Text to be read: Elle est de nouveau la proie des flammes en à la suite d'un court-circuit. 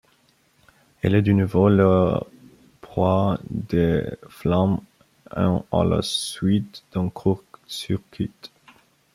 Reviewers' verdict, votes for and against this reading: rejected, 0, 2